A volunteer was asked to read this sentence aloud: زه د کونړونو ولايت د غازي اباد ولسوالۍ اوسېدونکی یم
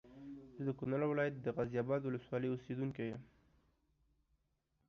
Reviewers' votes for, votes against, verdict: 2, 0, accepted